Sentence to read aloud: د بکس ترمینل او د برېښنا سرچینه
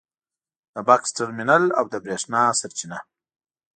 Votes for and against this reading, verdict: 2, 0, accepted